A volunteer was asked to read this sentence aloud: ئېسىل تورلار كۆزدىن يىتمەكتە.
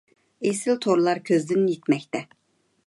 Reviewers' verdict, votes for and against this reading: accepted, 2, 0